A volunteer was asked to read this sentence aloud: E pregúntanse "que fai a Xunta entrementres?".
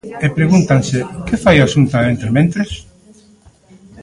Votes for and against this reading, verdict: 0, 2, rejected